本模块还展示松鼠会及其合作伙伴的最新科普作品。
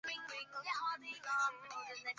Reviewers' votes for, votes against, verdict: 0, 2, rejected